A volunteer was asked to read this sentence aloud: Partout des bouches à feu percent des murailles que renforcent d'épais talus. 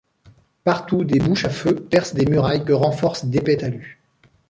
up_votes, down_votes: 0, 2